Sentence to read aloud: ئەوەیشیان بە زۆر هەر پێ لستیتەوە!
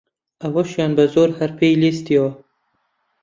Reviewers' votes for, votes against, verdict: 0, 2, rejected